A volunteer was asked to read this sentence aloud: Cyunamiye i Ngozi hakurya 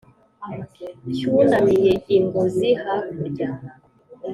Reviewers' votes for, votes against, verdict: 2, 0, accepted